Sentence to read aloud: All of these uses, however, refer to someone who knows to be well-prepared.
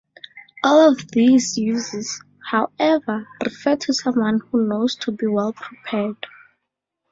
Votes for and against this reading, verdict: 0, 4, rejected